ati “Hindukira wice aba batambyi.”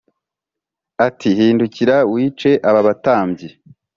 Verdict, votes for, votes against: accepted, 3, 0